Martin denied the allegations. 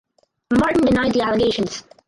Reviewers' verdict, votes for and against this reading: rejected, 0, 4